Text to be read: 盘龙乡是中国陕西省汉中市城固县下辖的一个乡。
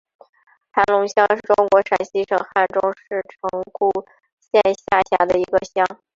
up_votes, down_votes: 2, 3